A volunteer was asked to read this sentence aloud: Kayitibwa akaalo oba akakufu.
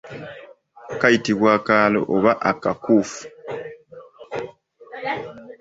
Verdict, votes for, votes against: rejected, 1, 2